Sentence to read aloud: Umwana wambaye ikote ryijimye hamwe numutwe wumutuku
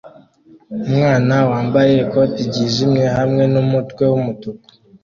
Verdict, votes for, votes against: accepted, 2, 0